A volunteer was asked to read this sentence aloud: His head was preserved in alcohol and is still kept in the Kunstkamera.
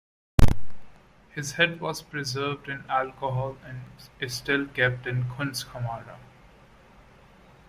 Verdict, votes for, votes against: rejected, 0, 2